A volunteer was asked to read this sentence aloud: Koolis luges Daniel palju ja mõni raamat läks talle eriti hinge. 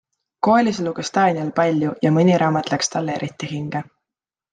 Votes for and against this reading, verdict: 3, 0, accepted